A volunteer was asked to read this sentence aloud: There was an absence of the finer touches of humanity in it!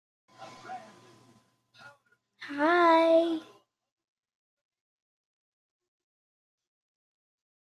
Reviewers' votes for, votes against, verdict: 1, 2, rejected